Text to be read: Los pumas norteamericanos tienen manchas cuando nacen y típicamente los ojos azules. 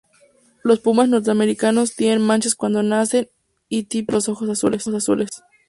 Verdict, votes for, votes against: rejected, 0, 2